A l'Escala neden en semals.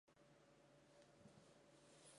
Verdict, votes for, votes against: rejected, 0, 3